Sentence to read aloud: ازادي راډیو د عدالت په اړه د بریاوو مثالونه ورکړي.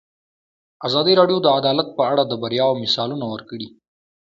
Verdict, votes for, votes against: accepted, 2, 0